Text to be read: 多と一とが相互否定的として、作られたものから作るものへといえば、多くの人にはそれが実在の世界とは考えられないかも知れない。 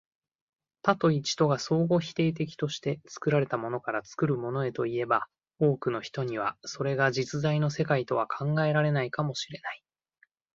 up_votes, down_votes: 2, 0